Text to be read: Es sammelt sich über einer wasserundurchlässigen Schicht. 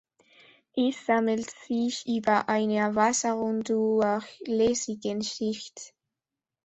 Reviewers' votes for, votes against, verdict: 1, 3, rejected